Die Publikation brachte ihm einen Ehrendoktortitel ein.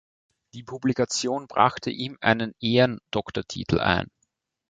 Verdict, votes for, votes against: accepted, 2, 0